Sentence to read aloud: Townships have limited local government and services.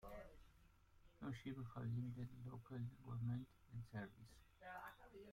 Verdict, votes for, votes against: rejected, 0, 2